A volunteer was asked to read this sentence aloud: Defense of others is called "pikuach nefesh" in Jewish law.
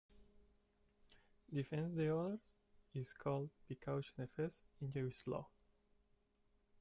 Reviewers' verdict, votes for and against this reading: rejected, 0, 2